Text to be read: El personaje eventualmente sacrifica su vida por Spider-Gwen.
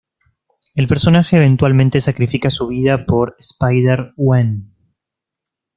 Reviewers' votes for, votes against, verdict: 2, 0, accepted